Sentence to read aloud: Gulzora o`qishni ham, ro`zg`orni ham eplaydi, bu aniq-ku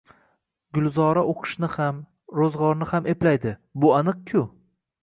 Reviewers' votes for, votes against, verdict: 2, 0, accepted